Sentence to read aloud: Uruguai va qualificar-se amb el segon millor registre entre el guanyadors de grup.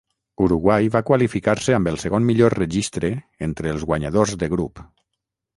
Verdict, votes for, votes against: rejected, 0, 6